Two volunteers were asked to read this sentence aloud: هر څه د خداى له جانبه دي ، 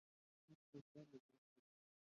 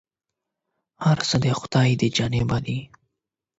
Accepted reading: second